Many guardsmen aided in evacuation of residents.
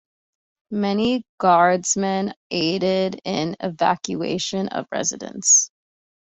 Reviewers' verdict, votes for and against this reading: accepted, 2, 0